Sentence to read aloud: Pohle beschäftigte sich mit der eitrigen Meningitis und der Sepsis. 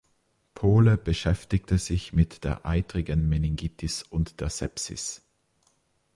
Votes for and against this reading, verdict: 2, 0, accepted